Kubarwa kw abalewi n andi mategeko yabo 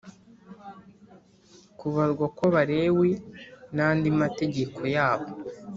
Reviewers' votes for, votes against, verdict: 2, 0, accepted